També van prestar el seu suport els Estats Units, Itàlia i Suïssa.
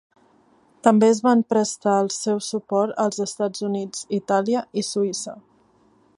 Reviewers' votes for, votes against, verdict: 2, 3, rejected